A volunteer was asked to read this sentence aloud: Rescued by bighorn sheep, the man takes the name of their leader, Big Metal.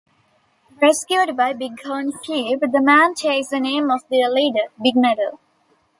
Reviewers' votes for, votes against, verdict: 2, 0, accepted